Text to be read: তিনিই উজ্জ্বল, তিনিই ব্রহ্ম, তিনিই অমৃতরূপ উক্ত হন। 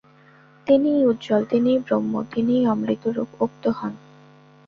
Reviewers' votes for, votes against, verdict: 2, 0, accepted